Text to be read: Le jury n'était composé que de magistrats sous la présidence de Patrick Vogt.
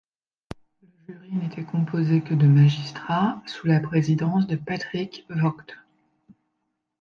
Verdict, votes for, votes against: rejected, 1, 2